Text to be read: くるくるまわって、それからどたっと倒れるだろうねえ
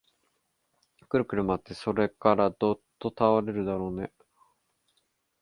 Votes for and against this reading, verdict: 0, 2, rejected